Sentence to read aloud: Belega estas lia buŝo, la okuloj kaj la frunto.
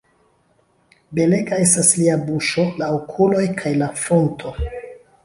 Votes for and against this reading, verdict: 2, 1, accepted